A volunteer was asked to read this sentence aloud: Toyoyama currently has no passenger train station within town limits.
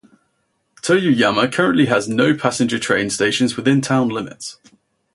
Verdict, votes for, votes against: rejected, 2, 2